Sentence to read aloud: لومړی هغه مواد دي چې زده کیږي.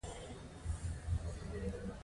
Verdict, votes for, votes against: accepted, 2, 1